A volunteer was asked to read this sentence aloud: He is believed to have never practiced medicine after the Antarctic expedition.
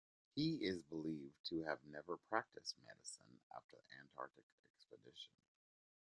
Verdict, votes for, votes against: rejected, 1, 2